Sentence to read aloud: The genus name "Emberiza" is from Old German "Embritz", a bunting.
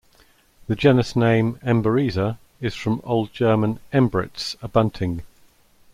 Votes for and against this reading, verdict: 2, 0, accepted